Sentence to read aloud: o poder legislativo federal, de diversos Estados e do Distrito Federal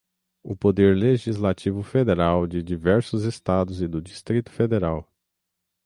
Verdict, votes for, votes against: accepted, 6, 0